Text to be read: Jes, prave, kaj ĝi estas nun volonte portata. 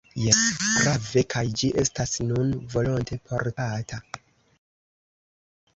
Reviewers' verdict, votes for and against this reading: rejected, 0, 2